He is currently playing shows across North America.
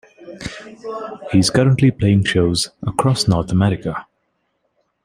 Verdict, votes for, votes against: rejected, 0, 2